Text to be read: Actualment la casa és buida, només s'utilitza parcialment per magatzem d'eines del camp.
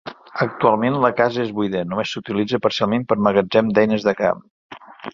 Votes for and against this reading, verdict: 1, 2, rejected